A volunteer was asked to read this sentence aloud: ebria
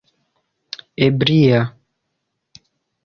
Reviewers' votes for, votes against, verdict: 2, 0, accepted